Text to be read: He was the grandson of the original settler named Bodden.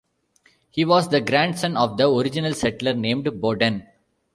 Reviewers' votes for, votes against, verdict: 1, 2, rejected